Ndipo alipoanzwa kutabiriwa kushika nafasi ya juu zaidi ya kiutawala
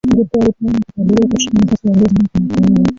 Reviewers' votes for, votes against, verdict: 0, 3, rejected